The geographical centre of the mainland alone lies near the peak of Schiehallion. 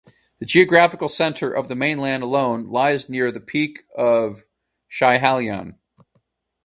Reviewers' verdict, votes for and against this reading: accepted, 4, 0